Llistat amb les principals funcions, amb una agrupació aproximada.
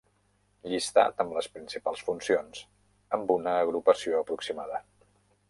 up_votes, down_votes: 1, 2